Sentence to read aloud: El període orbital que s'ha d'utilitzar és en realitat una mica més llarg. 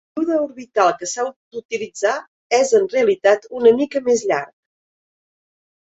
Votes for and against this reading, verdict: 0, 3, rejected